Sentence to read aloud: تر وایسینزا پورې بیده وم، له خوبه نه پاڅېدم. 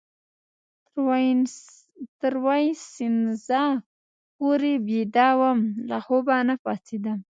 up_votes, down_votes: 2, 0